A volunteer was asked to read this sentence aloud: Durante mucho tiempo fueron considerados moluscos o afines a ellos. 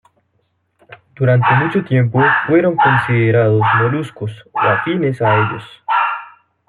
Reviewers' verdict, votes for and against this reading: rejected, 1, 2